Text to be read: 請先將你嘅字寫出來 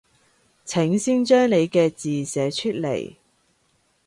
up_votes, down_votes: 2, 1